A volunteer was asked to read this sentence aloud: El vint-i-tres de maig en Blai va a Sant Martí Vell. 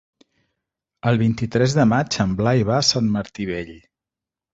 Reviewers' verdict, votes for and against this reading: accepted, 4, 0